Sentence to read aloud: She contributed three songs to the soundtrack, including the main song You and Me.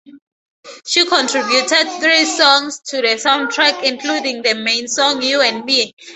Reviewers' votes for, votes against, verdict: 0, 2, rejected